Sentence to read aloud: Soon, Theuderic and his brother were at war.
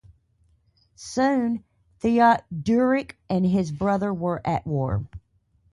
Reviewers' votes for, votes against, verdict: 0, 2, rejected